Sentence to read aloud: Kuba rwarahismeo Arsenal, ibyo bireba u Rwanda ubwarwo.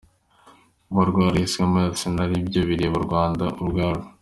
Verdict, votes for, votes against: accepted, 2, 0